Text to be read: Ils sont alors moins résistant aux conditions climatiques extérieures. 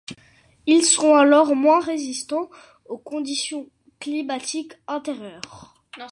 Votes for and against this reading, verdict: 0, 2, rejected